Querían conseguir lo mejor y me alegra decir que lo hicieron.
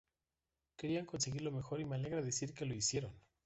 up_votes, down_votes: 2, 1